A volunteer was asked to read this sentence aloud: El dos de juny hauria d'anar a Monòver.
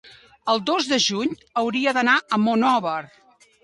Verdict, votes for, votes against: accepted, 2, 0